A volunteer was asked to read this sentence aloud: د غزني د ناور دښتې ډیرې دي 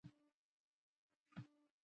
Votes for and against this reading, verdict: 0, 2, rejected